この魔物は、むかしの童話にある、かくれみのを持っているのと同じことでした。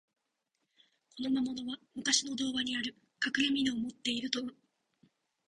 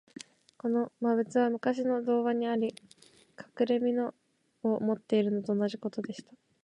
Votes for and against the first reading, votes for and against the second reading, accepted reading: 1, 3, 4, 2, second